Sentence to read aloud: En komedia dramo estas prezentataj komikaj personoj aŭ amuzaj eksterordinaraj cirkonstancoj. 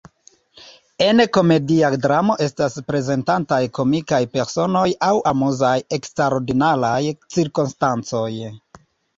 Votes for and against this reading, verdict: 2, 0, accepted